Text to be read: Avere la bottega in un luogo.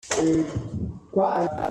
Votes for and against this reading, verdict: 0, 2, rejected